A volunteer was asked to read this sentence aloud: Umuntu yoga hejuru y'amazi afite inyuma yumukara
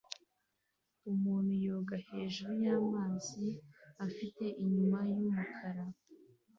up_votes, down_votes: 2, 1